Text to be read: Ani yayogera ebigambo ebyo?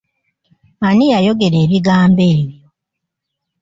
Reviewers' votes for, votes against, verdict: 2, 0, accepted